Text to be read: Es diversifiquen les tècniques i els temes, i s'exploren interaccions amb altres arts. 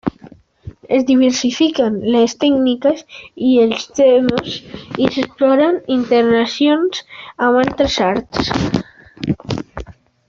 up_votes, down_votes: 2, 1